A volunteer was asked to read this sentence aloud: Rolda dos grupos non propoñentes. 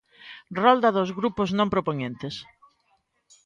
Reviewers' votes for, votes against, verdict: 2, 0, accepted